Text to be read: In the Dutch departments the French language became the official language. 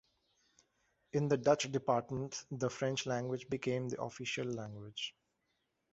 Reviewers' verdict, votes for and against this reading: accepted, 2, 0